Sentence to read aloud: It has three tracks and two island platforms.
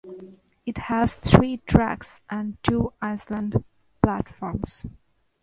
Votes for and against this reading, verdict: 2, 0, accepted